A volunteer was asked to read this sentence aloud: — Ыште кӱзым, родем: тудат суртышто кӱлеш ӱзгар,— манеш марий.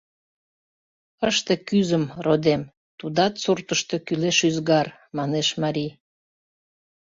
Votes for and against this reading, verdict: 2, 0, accepted